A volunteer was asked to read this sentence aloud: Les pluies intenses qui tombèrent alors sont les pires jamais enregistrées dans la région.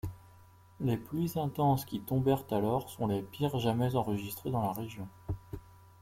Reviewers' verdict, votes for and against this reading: accepted, 2, 0